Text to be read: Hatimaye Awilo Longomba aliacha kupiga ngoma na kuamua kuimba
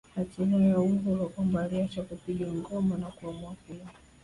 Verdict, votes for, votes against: accepted, 2, 0